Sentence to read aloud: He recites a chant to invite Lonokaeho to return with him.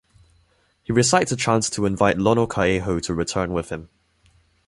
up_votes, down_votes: 2, 0